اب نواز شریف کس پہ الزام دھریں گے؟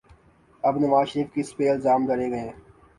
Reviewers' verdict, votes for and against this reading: rejected, 2, 3